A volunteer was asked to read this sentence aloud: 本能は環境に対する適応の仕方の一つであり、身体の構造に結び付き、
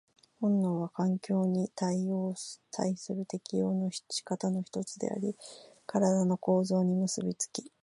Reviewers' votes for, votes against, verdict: 1, 2, rejected